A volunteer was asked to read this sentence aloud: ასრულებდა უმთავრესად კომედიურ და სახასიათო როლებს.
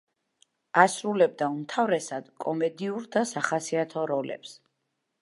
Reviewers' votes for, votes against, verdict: 2, 0, accepted